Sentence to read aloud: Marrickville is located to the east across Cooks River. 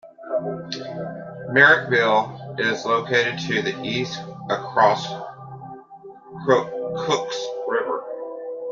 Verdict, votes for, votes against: rejected, 0, 2